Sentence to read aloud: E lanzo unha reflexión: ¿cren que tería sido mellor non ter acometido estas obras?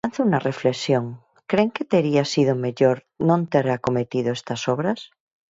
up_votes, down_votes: 0, 4